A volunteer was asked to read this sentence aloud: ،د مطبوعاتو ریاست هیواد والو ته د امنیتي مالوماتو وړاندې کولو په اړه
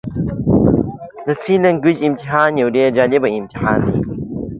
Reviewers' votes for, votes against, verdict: 1, 2, rejected